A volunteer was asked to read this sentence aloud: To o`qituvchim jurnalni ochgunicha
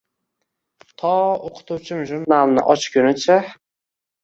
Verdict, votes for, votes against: accepted, 2, 0